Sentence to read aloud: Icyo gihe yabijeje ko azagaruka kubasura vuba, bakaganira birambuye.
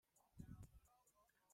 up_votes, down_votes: 0, 2